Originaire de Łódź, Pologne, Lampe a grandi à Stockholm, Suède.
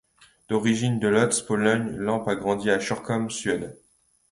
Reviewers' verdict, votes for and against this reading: rejected, 0, 2